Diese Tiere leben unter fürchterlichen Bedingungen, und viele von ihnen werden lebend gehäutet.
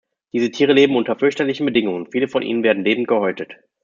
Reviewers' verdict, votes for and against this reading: rejected, 1, 2